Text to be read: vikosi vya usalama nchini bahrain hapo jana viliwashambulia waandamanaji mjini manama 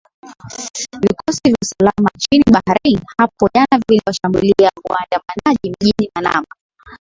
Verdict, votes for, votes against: accepted, 13, 2